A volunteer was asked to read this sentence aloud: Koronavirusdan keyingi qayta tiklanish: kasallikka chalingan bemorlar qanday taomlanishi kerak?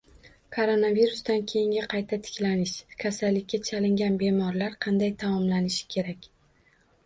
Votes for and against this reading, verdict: 1, 2, rejected